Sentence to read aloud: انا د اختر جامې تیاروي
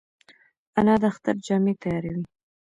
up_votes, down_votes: 2, 0